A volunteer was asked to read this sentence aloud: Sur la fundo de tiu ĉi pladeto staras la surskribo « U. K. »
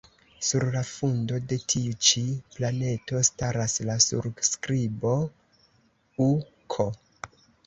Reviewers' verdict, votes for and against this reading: rejected, 1, 2